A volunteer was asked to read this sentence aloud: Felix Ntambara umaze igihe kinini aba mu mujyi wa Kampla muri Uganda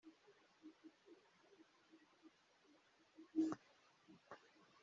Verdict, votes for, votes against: rejected, 1, 2